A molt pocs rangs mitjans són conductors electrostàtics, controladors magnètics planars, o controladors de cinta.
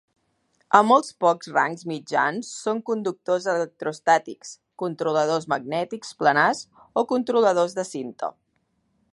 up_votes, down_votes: 2, 0